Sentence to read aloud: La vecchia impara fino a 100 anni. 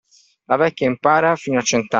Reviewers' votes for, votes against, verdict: 0, 2, rejected